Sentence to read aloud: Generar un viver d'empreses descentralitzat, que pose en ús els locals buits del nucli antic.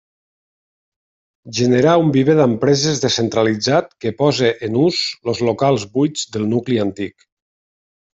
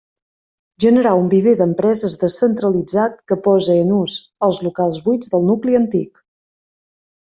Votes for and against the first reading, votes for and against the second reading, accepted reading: 1, 2, 2, 0, second